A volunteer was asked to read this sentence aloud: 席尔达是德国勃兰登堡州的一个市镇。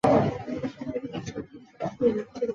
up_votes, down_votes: 1, 4